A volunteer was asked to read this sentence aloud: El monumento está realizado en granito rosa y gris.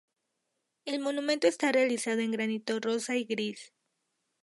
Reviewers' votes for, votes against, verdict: 0, 2, rejected